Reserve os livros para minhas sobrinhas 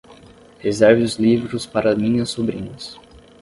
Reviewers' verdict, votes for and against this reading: rejected, 5, 5